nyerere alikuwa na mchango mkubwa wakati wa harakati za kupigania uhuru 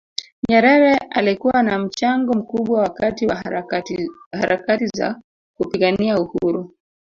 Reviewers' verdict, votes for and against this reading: rejected, 1, 2